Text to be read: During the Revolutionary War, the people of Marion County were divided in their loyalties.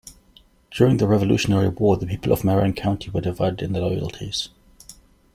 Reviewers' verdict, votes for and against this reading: accepted, 2, 0